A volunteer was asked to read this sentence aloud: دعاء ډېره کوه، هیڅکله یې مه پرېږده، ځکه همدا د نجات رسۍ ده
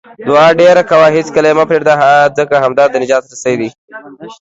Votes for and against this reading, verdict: 2, 0, accepted